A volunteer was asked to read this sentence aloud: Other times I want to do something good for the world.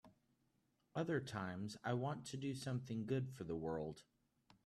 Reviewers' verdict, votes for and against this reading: accepted, 3, 0